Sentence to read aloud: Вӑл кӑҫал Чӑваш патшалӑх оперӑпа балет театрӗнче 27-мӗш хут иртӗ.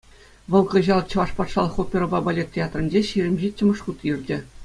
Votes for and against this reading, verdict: 0, 2, rejected